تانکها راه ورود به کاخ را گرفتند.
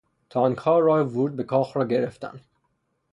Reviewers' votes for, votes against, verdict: 0, 3, rejected